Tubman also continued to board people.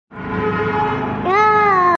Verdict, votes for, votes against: rejected, 0, 2